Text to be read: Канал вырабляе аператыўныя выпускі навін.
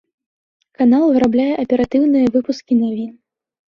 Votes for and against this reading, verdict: 2, 1, accepted